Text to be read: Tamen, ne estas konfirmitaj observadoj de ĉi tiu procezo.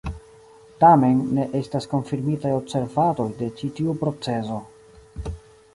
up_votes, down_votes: 2, 1